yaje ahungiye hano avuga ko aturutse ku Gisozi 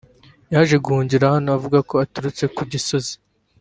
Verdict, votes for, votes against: accepted, 2, 1